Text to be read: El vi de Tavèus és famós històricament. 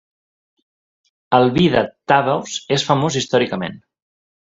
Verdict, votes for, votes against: rejected, 1, 2